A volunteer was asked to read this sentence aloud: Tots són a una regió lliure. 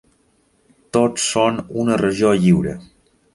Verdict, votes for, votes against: rejected, 3, 4